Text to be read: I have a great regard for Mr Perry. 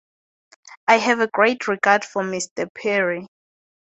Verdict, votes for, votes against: accepted, 4, 2